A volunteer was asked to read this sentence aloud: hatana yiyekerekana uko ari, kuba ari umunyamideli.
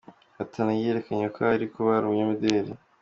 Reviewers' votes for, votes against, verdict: 2, 0, accepted